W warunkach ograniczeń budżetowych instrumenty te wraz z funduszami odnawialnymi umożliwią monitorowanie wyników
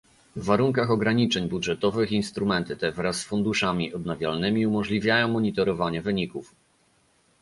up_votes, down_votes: 0, 2